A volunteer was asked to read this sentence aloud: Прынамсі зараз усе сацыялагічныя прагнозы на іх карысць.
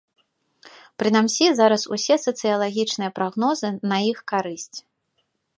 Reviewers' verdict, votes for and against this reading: rejected, 1, 2